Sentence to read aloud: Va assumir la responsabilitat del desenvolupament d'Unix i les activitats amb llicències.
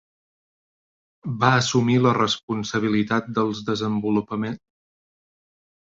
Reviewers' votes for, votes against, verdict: 0, 2, rejected